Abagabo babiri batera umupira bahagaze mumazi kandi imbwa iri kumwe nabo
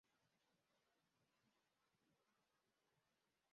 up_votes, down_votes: 0, 2